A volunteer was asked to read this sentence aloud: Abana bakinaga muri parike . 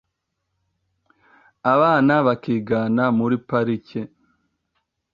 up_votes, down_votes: 0, 2